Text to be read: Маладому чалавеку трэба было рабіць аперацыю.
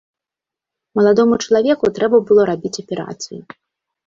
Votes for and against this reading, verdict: 2, 0, accepted